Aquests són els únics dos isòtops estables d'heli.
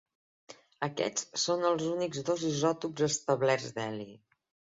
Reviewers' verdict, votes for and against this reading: rejected, 0, 3